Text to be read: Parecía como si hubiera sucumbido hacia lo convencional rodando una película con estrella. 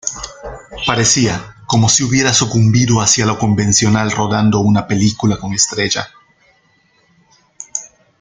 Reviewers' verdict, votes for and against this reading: rejected, 0, 2